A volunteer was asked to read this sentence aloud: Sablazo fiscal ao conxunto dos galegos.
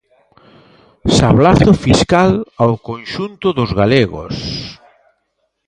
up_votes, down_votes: 1, 2